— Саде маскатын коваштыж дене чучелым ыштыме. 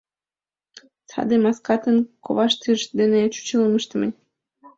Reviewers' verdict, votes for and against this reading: accepted, 2, 0